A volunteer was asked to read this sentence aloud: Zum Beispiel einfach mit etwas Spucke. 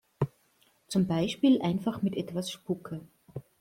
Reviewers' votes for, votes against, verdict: 2, 0, accepted